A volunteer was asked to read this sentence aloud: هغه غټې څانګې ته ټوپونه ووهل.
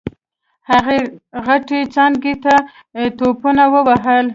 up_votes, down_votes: 2, 1